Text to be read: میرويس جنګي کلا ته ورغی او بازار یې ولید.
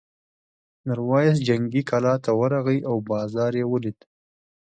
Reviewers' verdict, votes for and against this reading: accepted, 2, 0